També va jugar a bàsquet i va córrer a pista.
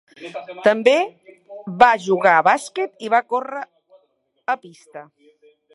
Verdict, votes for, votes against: rejected, 1, 2